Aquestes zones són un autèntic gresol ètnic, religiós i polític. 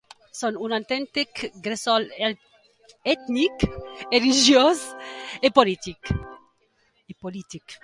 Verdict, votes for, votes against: rejected, 0, 2